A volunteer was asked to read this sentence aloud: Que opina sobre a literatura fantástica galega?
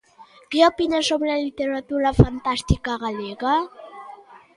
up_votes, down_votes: 2, 0